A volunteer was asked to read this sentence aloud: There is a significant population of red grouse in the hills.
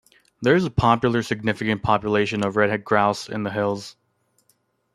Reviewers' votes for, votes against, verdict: 1, 2, rejected